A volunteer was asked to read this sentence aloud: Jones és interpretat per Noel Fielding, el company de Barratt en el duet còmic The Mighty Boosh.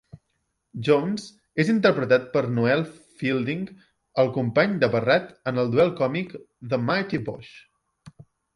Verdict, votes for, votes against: rejected, 1, 2